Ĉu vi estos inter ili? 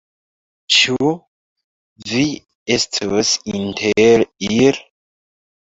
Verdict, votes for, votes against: rejected, 1, 2